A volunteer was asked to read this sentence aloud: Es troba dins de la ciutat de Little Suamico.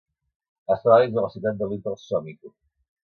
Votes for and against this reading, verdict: 0, 2, rejected